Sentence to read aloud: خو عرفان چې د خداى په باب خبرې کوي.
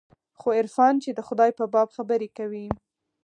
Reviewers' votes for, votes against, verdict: 2, 4, rejected